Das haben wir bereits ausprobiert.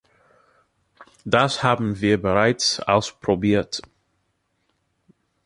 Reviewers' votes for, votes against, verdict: 2, 0, accepted